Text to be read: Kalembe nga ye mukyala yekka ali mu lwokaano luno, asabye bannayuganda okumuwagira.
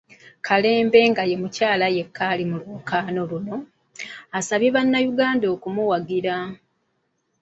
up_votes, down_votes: 2, 0